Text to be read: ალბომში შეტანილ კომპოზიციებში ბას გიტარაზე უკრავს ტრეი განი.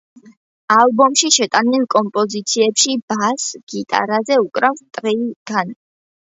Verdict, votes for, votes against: accepted, 2, 0